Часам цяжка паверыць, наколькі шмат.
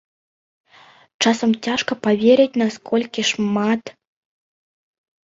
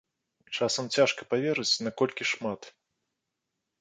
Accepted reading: second